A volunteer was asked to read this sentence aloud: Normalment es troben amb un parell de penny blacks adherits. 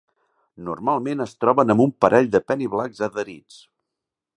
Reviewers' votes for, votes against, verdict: 2, 1, accepted